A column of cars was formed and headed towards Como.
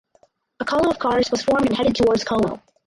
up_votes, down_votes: 2, 4